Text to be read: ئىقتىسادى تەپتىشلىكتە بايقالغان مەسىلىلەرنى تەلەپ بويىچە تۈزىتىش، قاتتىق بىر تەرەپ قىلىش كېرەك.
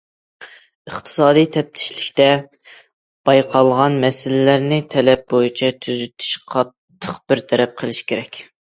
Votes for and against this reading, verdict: 2, 0, accepted